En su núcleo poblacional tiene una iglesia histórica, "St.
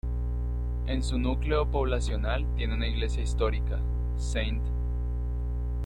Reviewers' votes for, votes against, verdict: 0, 2, rejected